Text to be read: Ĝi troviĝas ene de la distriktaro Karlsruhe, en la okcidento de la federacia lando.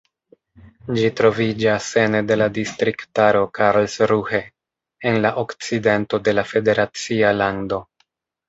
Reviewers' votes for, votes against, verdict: 0, 2, rejected